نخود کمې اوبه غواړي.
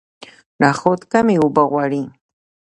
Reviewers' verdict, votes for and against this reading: accepted, 2, 0